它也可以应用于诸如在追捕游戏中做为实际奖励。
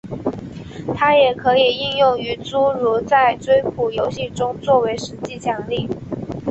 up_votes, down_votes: 2, 0